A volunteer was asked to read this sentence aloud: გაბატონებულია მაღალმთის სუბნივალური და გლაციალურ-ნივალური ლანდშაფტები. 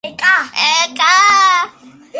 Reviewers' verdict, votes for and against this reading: rejected, 0, 2